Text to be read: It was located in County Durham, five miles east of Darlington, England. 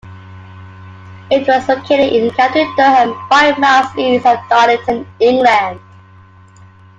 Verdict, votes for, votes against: accepted, 3, 1